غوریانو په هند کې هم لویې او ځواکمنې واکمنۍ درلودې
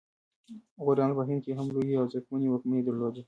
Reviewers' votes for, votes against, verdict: 2, 1, accepted